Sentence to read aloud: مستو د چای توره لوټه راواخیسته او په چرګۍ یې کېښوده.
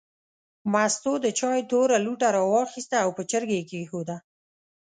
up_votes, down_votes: 2, 0